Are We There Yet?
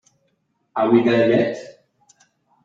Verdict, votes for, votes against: accepted, 2, 0